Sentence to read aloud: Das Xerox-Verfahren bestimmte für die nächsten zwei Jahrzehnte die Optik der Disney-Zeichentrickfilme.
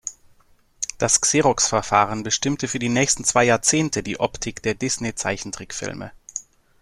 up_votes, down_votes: 2, 0